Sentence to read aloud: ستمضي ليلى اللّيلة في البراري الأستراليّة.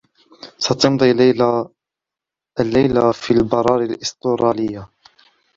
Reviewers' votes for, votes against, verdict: 0, 2, rejected